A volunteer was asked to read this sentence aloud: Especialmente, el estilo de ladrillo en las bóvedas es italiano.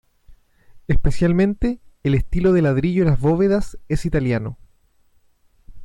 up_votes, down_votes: 2, 0